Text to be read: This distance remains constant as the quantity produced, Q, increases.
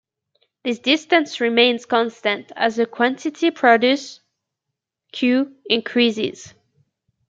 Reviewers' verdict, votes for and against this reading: accepted, 2, 0